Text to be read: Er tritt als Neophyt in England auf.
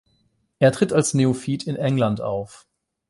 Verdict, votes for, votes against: rejected, 0, 8